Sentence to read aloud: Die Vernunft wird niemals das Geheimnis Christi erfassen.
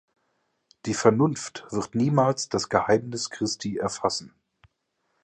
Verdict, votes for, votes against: accepted, 3, 0